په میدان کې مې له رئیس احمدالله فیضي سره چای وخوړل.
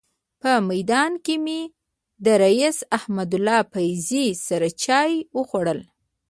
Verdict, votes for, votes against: rejected, 0, 2